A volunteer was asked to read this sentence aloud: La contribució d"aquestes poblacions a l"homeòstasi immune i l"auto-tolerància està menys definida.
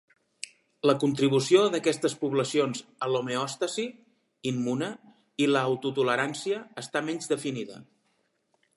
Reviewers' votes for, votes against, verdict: 2, 1, accepted